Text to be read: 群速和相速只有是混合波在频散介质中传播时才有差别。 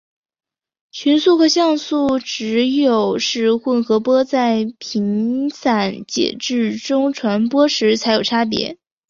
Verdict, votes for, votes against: accepted, 4, 0